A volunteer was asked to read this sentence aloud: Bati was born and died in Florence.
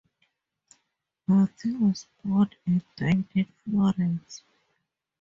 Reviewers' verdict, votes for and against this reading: rejected, 0, 2